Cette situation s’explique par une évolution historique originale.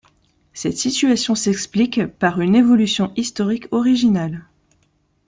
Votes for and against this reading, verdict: 1, 2, rejected